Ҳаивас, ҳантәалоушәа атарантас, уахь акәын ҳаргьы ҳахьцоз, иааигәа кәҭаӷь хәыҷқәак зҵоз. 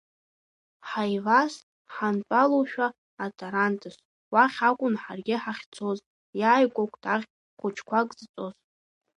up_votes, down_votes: 2, 1